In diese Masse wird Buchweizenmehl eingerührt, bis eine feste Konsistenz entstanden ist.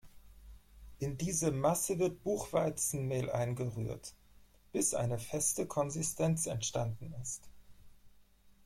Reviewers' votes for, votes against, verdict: 0, 4, rejected